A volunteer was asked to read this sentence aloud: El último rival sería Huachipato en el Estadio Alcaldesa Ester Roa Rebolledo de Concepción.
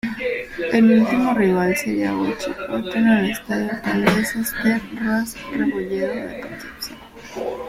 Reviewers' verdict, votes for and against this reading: rejected, 0, 2